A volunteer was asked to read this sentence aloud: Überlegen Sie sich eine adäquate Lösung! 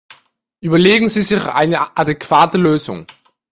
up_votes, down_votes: 2, 1